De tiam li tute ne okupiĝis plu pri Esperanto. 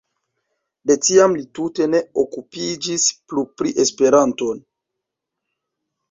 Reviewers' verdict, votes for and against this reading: rejected, 1, 2